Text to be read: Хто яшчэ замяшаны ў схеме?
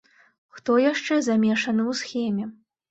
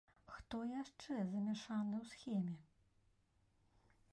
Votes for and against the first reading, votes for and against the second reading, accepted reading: 1, 2, 2, 0, second